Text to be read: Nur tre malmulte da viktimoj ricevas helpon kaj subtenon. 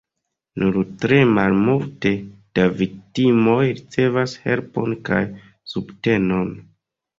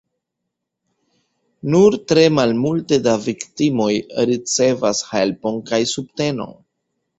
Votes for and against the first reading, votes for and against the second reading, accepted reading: 1, 2, 2, 0, second